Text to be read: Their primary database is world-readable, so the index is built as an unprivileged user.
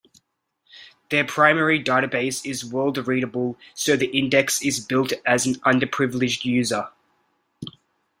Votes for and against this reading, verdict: 0, 2, rejected